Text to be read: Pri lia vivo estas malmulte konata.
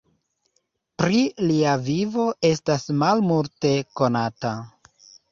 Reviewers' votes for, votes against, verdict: 2, 0, accepted